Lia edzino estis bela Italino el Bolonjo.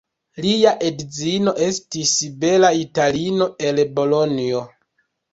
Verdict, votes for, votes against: rejected, 1, 2